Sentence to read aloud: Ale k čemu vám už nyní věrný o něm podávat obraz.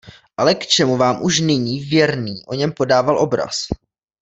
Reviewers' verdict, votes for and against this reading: rejected, 0, 2